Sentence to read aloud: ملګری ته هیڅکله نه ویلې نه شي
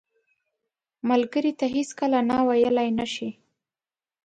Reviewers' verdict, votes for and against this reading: accepted, 2, 0